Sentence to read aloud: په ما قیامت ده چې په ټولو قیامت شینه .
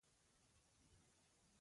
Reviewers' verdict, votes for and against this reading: rejected, 0, 2